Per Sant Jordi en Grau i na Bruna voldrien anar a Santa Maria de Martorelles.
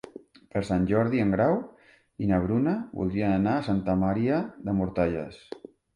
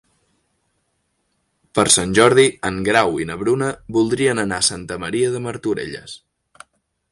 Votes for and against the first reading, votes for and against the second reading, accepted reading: 2, 4, 3, 0, second